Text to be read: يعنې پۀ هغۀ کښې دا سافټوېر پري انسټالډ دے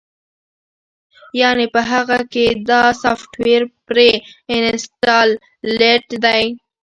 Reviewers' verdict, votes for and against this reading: rejected, 1, 2